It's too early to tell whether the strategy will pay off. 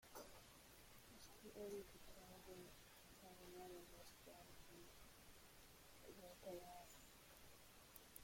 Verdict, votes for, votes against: rejected, 0, 2